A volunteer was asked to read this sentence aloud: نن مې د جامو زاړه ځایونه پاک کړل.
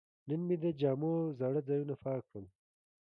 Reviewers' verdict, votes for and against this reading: accepted, 2, 1